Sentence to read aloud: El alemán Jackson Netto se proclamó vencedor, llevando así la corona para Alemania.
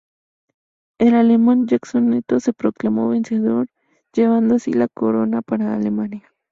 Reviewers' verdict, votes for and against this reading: rejected, 0, 2